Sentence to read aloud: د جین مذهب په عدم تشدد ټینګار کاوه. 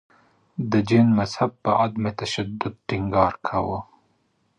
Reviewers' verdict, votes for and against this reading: rejected, 1, 2